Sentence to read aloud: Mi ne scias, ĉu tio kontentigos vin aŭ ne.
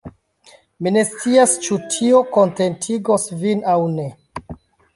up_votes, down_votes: 2, 1